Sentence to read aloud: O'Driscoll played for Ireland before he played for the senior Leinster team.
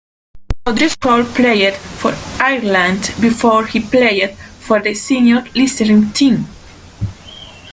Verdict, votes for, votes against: rejected, 0, 2